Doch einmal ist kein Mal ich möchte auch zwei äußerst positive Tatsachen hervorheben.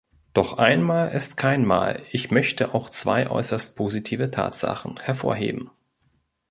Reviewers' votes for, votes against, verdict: 2, 0, accepted